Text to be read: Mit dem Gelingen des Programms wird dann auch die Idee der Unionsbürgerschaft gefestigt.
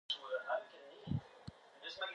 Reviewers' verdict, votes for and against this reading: rejected, 0, 2